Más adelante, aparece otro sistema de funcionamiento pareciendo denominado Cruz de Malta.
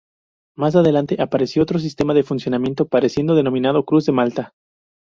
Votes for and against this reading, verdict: 0, 2, rejected